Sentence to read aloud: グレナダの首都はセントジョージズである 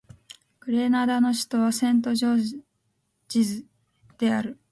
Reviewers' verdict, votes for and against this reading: accepted, 2, 0